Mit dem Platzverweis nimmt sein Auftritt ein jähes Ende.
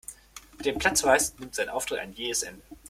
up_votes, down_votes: 0, 2